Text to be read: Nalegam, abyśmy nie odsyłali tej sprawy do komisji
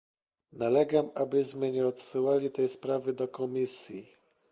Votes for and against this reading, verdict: 1, 2, rejected